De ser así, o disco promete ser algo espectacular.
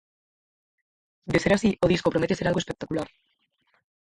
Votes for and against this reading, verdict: 0, 4, rejected